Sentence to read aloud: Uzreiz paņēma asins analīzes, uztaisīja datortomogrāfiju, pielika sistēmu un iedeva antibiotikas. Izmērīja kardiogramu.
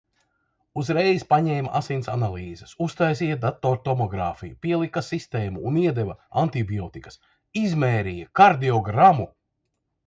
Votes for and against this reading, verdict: 2, 0, accepted